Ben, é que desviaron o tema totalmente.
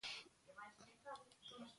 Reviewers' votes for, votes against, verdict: 0, 2, rejected